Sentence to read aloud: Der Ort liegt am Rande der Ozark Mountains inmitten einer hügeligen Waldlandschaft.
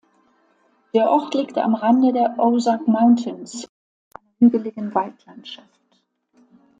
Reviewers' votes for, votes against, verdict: 0, 2, rejected